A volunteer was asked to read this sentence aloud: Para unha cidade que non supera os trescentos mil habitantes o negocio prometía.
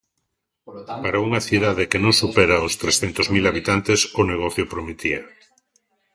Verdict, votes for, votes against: rejected, 1, 2